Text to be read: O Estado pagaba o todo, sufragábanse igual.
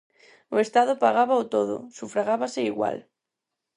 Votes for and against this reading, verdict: 0, 4, rejected